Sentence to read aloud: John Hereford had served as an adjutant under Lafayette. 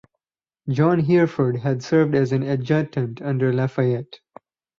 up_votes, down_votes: 4, 0